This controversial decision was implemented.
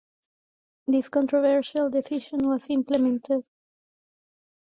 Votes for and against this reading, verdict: 1, 2, rejected